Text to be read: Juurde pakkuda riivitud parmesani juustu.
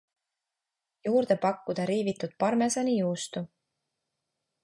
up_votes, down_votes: 3, 0